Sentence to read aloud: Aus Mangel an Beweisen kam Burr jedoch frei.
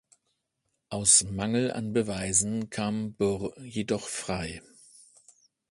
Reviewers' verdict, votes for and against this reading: accepted, 2, 0